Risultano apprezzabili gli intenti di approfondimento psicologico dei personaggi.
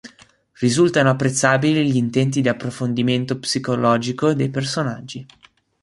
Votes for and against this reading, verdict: 2, 0, accepted